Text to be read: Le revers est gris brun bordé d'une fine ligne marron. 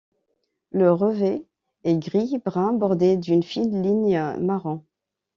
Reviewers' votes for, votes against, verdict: 0, 2, rejected